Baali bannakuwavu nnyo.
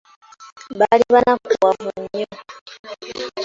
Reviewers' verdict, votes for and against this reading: accepted, 2, 0